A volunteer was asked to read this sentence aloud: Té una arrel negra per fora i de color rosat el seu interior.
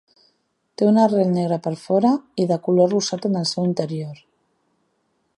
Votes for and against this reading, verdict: 1, 2, rejected